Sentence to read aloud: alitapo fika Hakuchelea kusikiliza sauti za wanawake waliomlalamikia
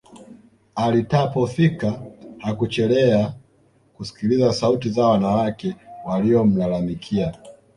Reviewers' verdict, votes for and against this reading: accepted, 2, 0